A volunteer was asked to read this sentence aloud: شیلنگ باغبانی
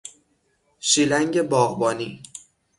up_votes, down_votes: 6, 0